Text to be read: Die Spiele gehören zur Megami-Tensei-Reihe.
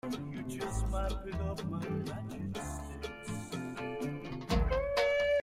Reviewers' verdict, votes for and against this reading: rejected, 0, 2